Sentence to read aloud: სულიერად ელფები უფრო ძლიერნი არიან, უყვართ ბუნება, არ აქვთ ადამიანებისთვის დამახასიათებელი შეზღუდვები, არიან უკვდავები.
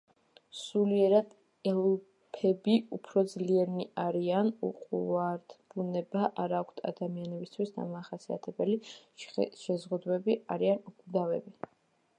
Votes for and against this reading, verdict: 1, 2, rejected